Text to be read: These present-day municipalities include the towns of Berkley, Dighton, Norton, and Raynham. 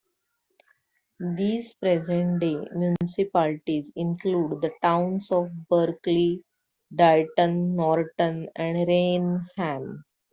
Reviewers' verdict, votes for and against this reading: rejected, 0, 2